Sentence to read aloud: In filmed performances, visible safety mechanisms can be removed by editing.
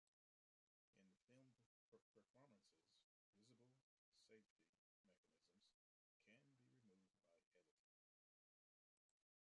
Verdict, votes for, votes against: rejected, 0, 2